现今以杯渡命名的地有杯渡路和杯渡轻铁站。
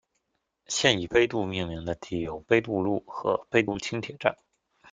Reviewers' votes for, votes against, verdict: 1, 2, rejected